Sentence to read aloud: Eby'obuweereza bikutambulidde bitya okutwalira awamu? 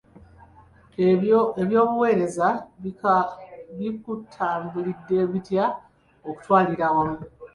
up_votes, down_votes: 2, 0